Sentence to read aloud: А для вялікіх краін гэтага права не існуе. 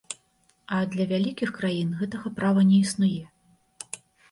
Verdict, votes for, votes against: accepted, 2, 0